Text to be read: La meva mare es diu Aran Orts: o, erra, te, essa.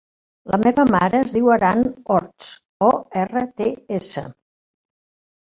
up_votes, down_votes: 0, 2